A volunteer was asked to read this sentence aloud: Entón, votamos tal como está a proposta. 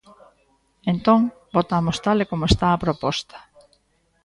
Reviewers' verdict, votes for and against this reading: rejected, 0, 2